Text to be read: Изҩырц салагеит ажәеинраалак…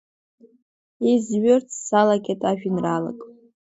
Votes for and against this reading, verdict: 2, 0, accepted